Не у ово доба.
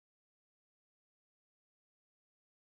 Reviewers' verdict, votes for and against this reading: rejected, 0, 2